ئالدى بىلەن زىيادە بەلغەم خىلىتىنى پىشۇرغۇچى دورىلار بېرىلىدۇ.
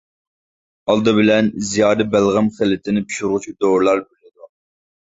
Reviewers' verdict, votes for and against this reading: rejected, 0, 2